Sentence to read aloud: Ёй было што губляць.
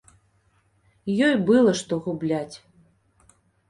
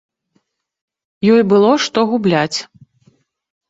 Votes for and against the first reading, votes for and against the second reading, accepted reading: 0, 2, 2, 0, second